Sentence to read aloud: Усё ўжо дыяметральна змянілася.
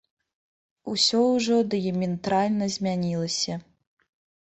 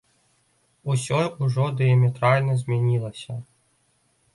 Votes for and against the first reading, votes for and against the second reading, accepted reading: 0, 3, 2, 0, second